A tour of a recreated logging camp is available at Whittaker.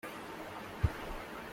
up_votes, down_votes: 0, 2